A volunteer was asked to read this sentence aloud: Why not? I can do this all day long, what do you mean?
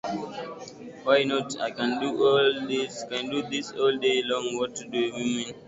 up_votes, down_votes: 0, 2